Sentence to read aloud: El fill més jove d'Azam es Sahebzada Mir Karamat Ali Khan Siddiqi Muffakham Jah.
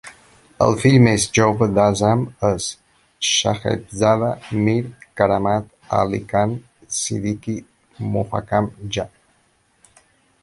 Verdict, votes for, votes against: rejected, 0, 2